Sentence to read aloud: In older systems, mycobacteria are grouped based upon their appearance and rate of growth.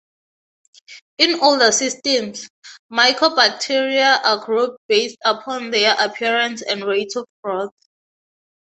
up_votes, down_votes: 6, 0